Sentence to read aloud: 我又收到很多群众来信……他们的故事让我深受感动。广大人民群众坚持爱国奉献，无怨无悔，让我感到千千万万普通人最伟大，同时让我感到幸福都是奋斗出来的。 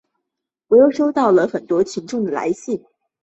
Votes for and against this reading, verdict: 2, 7, rejected